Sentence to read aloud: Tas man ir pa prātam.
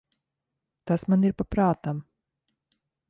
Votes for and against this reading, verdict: 2, 0, accepted